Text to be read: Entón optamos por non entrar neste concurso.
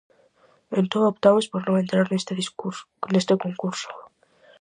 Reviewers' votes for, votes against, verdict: 0, 4, rejected